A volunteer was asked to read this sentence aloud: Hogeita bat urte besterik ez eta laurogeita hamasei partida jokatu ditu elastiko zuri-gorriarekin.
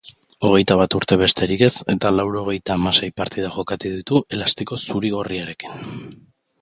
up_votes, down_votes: 2, 1